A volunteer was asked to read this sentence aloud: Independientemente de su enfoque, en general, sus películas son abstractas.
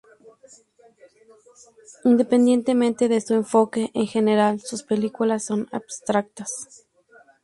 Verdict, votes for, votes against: accepted, 2, 0